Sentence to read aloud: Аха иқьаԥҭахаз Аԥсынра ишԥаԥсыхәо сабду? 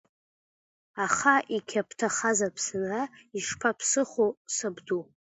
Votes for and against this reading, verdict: 2, 1, accepted